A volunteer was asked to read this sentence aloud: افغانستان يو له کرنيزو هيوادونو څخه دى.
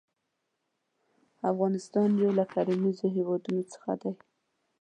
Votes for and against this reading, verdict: 0, 2, rejected